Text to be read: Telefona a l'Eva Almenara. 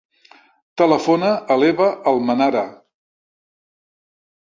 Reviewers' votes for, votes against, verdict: 3, 0, accepted